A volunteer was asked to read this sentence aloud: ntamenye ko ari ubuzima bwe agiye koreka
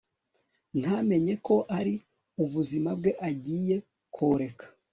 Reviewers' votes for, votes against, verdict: 2, 1, accepted